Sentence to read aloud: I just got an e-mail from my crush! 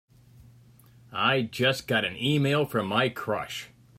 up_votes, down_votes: 3, 0